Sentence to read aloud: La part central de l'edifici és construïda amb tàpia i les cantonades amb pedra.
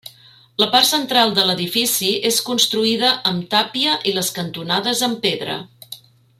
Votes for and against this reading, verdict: 3, 0, accepted